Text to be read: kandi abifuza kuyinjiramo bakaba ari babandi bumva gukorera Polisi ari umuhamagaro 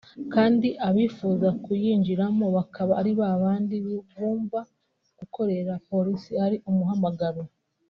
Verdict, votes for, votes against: rejected, 0, 2